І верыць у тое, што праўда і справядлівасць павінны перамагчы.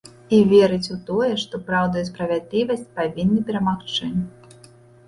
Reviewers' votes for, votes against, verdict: 2, 0, accepted